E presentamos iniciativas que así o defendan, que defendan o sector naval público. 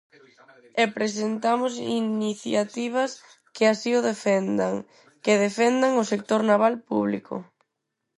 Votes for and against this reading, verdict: 2, 4, rejected